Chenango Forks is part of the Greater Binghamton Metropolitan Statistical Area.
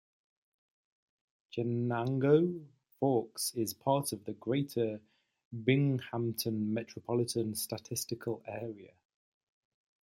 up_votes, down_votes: 2, 1